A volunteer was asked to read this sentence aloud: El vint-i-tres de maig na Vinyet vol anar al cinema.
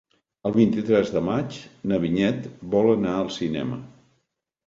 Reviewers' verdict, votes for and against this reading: accepted, 3, 0